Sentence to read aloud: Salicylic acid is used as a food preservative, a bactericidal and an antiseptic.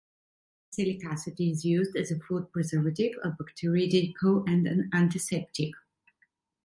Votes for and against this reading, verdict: 1, 2, rejected